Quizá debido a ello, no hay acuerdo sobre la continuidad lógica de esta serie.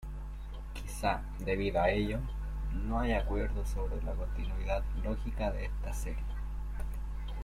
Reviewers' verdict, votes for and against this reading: rejected, 1, 2